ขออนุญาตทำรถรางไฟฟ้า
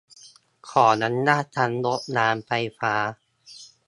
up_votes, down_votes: 1, 2